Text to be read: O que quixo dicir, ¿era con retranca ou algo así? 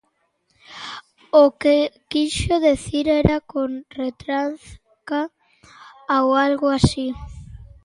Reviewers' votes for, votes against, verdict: 0, 2, rejected